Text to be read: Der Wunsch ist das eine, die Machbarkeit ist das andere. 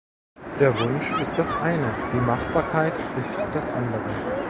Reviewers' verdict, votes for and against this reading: rejected, 0, 2